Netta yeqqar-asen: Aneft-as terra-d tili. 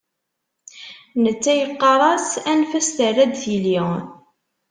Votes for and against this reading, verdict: 0, 2, rejected